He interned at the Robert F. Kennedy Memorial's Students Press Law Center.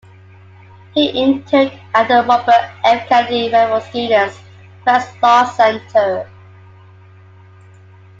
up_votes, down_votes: 0, 2